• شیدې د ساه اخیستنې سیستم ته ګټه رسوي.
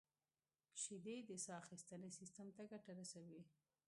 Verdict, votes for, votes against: rejected, 0, 2